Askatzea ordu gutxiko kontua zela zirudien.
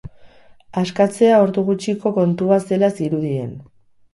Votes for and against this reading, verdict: 2, 0, accepted